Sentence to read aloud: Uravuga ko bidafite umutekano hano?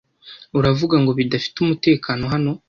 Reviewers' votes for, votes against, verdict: 1, 2, rejected